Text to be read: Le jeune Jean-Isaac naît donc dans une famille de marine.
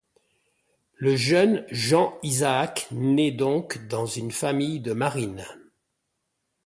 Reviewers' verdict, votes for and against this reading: accepted, 2, 0